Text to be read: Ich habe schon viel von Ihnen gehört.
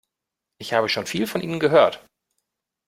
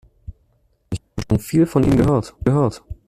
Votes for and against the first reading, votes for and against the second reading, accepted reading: 2, 0, 0, 2, first